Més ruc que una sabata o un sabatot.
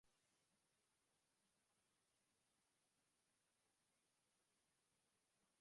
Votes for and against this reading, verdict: 0, 2, rejected